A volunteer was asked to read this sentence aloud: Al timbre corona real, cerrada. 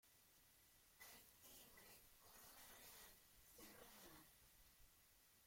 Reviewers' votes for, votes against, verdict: 0, 2, rejected